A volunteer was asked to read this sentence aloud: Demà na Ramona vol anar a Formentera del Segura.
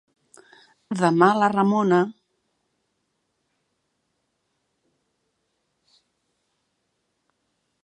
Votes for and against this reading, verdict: 0, 2, rejected